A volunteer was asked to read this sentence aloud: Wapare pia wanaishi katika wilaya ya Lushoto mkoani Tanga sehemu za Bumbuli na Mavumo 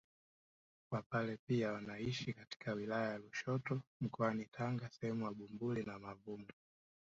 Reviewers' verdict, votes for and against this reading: accepted, 2, 1